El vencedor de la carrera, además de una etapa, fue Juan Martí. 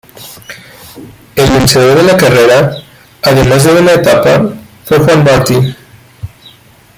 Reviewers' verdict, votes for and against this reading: rejected, 1, 2